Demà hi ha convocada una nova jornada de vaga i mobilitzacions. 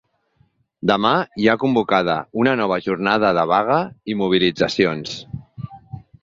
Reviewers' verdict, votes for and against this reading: accepted, 2, 0